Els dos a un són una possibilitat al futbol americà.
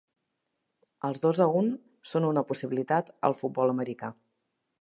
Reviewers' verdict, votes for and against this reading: accepted, 3, 0